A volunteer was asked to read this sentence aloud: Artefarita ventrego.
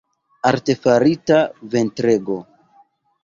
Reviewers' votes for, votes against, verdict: 1, 2, rejected